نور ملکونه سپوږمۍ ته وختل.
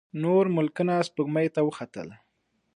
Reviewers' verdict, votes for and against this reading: accepted, 2, 0